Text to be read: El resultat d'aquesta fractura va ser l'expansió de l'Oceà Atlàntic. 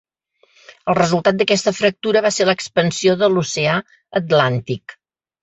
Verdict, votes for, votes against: accepted, 3, 0